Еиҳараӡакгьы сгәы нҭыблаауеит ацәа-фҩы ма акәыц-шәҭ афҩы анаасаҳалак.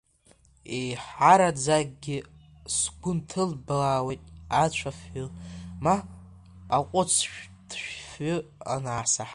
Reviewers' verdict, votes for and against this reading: accepted, 2, 0